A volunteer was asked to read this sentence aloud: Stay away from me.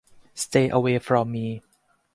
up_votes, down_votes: 4, 0